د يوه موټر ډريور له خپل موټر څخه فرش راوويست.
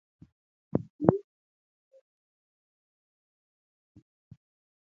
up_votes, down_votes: 0, 2